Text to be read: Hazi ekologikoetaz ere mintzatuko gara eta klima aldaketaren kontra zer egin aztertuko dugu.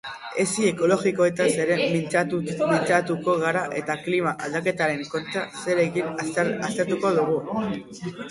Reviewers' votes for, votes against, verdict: 2, 2, rejected